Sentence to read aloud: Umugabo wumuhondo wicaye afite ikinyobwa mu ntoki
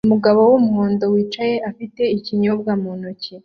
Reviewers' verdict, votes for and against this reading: accepted, 2, 0